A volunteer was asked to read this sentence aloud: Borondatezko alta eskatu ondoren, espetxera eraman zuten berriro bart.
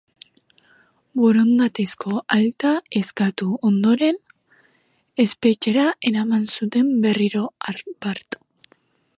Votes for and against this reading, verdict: 0, 2, rejected